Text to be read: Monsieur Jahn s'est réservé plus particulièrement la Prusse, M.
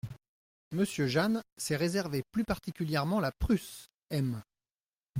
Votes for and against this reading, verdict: 0, 2, rejected